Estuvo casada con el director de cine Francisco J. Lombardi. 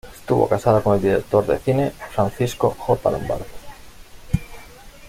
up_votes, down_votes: 2, 0